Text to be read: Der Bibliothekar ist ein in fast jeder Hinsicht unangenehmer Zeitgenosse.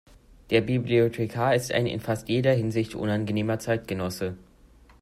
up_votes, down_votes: 2, 0